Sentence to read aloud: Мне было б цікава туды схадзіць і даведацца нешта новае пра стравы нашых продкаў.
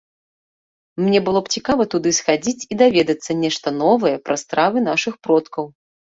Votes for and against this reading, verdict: 2, 0, accepted